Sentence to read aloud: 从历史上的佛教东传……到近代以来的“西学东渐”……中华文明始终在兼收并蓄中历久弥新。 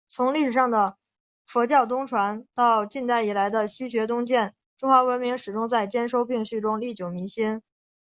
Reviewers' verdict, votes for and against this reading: accepted, 3, 0